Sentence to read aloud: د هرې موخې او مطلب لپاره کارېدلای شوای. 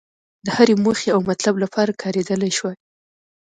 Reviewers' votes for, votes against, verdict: 2, 0, accepted